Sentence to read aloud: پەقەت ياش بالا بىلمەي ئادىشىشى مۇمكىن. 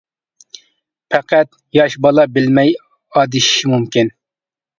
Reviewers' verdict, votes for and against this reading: accepted, 2, 0